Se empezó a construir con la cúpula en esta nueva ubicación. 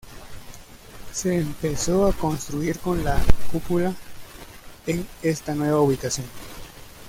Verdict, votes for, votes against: accepted, 2, 0